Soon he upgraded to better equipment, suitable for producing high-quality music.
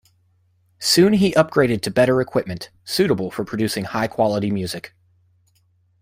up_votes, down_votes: 2, 1